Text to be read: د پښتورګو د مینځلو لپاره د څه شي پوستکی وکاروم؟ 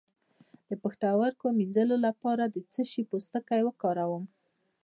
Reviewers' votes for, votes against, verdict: 2, 1, accepted